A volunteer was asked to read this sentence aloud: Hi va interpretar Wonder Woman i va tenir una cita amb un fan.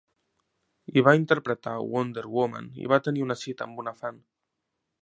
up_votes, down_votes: 2, 3